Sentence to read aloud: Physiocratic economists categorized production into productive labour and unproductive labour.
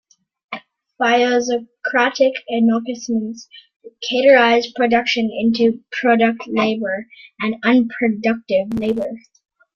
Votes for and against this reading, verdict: 1, 2, rejected